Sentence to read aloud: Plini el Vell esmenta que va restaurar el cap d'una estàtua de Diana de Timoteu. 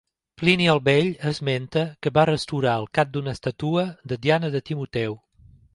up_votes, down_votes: 2, 0